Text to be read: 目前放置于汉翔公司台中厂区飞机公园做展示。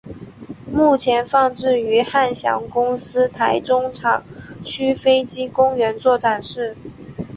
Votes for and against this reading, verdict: 3, 0, accepted